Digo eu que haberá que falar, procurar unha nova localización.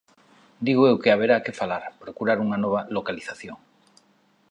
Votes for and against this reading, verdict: 2, 0, accepted